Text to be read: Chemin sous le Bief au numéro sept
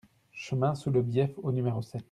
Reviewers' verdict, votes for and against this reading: accepted, 2, 0